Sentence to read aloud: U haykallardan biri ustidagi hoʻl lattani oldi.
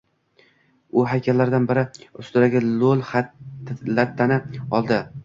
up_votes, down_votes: 0, 2